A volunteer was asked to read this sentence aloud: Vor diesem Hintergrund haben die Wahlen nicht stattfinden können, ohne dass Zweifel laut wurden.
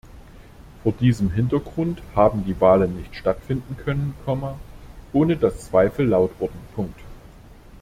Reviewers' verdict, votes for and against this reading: rejected, 0, 2